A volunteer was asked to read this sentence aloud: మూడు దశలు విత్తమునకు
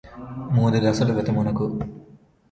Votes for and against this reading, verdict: 0, 2, rejected